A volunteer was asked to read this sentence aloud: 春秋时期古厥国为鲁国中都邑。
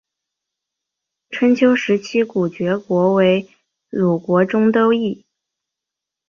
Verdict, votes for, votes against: accepted, 4, 1